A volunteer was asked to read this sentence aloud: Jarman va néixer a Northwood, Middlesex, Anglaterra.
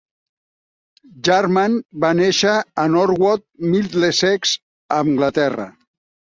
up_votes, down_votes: 0, 2